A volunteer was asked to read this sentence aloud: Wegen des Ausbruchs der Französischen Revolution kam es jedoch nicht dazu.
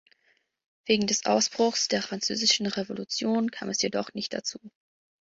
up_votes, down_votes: 3, 0